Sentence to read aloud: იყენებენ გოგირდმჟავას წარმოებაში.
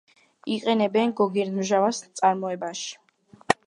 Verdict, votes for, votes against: rejected, 1, 2